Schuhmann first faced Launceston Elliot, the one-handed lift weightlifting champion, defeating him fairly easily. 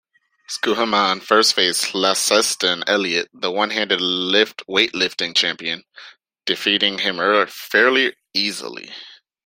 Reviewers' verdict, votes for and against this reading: rejected, 0, 2